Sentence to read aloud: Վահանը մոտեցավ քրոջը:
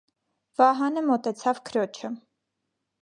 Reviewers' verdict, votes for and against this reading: accepted, 2, 0